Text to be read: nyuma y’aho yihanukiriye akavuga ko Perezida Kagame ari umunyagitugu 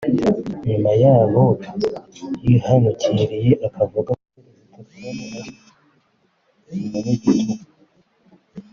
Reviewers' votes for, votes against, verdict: 0, 3, rejected